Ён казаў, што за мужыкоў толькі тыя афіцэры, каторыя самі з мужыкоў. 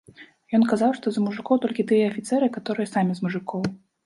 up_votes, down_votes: 2, 0